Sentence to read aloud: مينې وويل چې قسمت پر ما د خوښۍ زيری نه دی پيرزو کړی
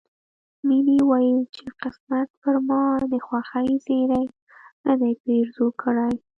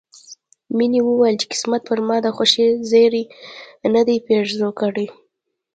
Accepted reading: second